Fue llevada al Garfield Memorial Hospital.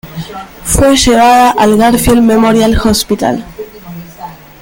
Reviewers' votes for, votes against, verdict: 2, 1, accepted